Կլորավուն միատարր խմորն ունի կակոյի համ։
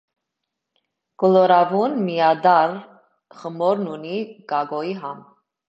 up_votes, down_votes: 1, 2